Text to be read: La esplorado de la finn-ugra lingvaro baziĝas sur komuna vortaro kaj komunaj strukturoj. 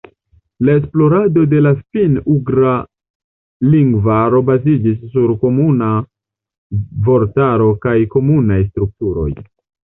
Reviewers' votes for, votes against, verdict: 0, 2, rejected